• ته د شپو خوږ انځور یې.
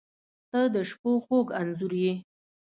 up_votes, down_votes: 2, 0